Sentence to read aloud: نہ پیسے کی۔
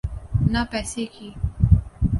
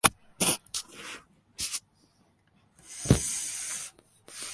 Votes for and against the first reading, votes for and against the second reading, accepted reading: 2, 0, 0, 2, first